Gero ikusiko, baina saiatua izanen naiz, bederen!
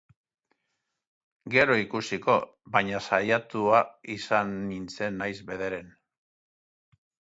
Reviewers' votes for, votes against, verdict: 1, 2, rejected